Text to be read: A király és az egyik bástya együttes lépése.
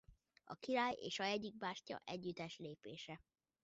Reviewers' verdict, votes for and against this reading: rejected, 0, 2